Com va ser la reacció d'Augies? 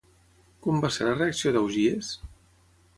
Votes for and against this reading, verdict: 6, 0, accepted